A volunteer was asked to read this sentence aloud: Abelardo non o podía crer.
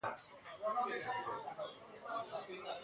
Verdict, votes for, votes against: rejected, 0, 2